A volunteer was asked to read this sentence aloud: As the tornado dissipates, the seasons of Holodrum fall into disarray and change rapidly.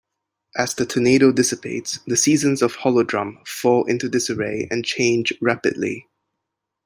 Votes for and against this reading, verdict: 2, 0, accepted